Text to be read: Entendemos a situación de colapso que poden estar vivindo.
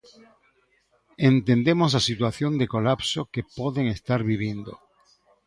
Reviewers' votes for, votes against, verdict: 1, 2, rejected